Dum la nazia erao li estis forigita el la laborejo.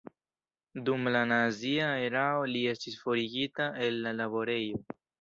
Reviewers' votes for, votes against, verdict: 1, 2, rejected